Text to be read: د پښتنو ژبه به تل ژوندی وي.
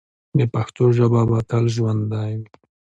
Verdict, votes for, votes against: accepted, 2, 0